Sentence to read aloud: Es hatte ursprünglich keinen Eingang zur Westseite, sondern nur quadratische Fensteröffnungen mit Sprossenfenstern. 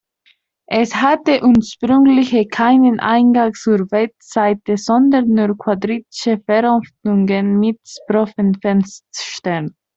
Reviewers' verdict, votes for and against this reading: rejected, 0, 2